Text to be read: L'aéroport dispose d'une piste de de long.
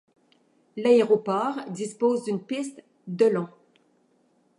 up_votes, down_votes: 0, 2